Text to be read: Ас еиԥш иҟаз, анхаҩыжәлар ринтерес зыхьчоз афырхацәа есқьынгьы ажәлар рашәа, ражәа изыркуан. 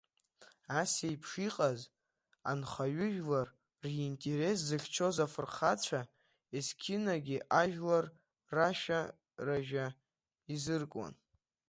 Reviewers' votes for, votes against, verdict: 1, 2, rejected